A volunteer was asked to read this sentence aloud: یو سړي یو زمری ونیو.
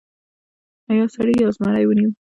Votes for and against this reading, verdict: 0, 2, rejected